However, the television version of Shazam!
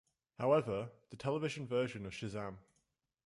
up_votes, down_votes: 2, 0